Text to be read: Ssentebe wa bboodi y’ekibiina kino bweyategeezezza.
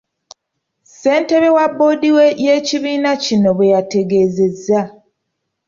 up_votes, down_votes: 2, 0